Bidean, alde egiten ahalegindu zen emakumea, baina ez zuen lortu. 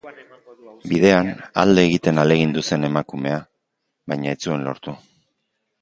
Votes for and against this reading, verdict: 0, 2, rejected